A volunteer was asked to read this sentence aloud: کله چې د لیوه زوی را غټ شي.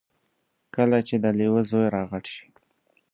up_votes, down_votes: 2, 0